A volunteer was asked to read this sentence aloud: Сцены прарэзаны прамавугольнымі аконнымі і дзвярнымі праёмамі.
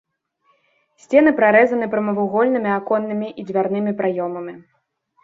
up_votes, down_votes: 2, 0